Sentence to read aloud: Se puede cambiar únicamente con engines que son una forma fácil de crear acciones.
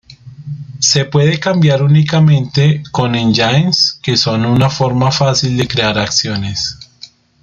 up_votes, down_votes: 2, 0